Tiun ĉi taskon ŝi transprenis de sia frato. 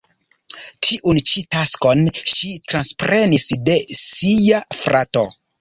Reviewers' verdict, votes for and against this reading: rejected, 0, 2